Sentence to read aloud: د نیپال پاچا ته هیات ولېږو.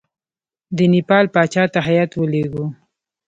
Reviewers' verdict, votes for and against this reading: rejected, 0, 2